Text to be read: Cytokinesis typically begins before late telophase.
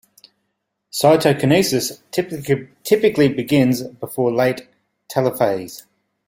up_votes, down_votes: 1, 2